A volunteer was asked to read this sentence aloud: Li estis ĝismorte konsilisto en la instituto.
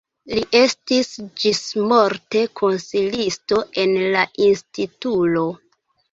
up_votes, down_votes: 2, 1